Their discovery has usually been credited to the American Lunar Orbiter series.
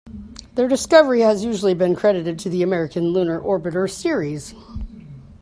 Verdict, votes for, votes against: accepted, 2, 0